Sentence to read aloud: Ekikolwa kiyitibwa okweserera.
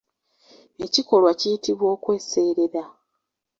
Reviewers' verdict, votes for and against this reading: accepted, 2, 1